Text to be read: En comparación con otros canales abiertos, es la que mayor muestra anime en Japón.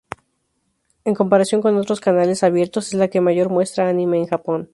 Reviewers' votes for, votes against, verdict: 2, 0, accepted